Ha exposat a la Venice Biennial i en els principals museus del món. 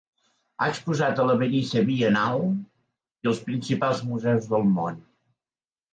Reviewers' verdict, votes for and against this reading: rejected, 1, 2